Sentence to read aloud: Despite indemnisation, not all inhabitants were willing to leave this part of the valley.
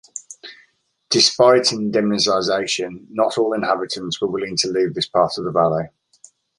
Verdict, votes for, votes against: rejected, 1, 2